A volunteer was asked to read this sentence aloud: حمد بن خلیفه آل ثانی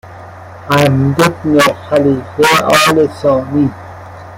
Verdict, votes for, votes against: accepted, 2, 1